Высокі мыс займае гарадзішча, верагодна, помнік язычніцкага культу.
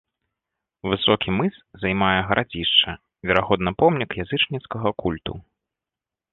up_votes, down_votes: 2, 0